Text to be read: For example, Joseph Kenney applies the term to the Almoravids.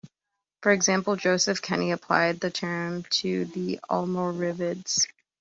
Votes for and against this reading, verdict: 0, 2, rejected